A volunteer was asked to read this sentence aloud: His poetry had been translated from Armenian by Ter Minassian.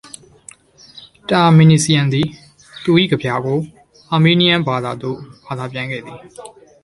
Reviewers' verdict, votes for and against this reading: rejected, 0, 2